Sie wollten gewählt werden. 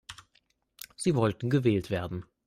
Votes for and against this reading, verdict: 2, 0, accepted